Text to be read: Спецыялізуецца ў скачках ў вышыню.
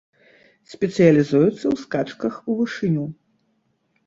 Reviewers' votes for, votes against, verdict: 1, 2, rejected